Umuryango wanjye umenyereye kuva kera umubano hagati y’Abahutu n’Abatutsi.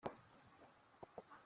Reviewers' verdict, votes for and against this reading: rejected, 0, 2